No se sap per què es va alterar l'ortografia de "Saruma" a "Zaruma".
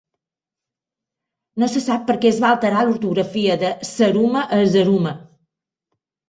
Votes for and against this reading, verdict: 2, 0, accepted